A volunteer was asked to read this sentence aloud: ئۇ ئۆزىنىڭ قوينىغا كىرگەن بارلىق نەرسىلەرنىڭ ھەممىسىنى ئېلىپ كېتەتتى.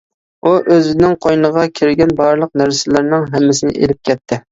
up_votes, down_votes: 1, 2